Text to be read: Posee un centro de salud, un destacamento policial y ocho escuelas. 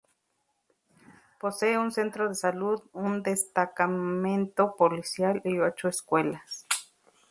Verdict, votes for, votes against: rejected, 0, 4